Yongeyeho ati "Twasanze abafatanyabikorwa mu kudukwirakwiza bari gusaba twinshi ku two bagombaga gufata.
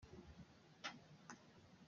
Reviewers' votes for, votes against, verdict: 0, 2, rejected